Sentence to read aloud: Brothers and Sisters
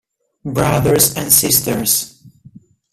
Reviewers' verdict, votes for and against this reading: rejected, 1, 2